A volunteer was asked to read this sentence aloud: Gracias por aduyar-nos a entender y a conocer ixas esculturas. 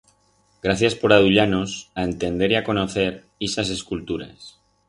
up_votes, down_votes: 4, 0